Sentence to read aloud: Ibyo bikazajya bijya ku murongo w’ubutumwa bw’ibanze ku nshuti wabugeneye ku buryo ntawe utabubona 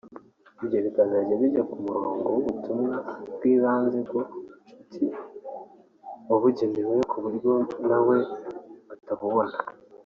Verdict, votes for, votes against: rejected, 0, 4